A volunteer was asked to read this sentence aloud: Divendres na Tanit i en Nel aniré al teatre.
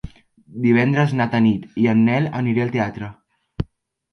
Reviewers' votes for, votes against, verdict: 5, 0, accepted